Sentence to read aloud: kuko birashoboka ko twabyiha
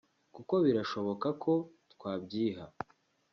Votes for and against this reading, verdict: 2, 0, accepted